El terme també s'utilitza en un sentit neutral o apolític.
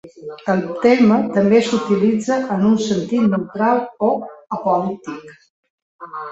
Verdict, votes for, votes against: rejected, 0, 2